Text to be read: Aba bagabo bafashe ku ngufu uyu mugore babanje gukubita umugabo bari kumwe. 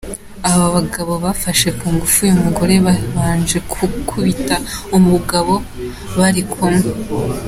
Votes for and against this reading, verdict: 2, 1, accepted